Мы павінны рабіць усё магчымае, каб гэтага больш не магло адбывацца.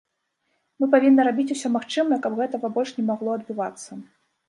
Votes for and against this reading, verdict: 2, 0, accepted